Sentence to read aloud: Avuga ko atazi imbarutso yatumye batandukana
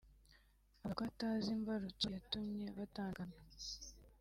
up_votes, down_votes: 1, 2